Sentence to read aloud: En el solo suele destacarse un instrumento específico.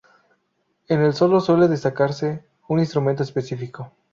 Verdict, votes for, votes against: accepted, 2, 0